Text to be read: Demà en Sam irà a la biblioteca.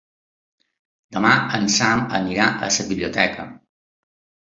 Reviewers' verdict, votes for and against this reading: accepted, 2, 1